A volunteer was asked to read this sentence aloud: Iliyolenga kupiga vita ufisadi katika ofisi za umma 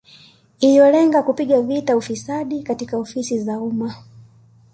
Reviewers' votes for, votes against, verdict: 2, 0, accepted